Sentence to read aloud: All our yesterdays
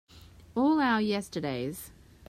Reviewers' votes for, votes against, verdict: 3, 0, accepted